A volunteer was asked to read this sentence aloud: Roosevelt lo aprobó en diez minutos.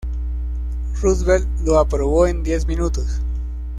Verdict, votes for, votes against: accepted, 2, 0